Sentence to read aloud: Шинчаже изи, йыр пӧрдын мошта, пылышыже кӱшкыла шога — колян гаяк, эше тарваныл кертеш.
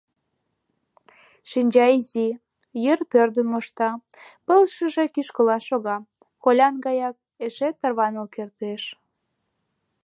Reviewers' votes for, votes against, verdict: 1, 2, rejected